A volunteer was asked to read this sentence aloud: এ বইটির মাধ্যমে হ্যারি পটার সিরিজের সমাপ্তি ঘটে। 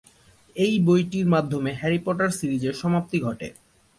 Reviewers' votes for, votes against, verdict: 7, 0, accepted